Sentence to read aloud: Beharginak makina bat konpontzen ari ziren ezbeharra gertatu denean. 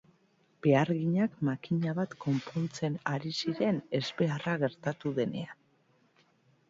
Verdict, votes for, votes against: accepted, 2, 0